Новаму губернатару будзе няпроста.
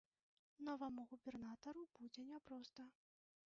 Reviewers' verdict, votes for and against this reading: rejected, 0, 2